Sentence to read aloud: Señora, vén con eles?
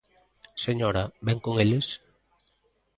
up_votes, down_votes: 2, 0